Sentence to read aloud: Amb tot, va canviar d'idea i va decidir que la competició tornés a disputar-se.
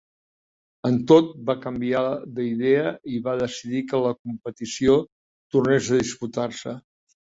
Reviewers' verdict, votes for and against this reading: accepted, 2, 1